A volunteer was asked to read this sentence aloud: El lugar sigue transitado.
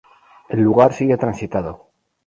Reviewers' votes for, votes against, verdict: 2, 2, rejected